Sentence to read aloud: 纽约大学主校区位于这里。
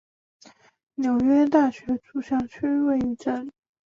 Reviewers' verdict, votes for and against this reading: accepted, 4, 0